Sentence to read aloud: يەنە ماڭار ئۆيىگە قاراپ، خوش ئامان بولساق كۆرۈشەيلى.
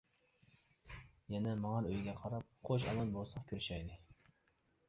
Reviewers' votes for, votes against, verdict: 0, 2, rejected